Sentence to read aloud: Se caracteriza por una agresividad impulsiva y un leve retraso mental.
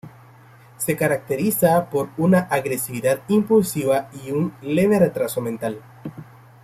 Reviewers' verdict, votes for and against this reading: accepted, 2, 0